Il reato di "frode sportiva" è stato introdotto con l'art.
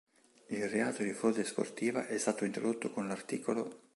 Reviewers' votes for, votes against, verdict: 0, 2, rejected